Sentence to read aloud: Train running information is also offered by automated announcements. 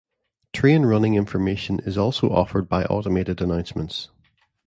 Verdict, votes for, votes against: rejected, 1, 2